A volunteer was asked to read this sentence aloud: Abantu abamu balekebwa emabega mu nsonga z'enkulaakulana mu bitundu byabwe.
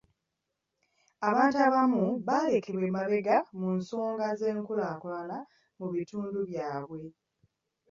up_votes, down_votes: 2, 0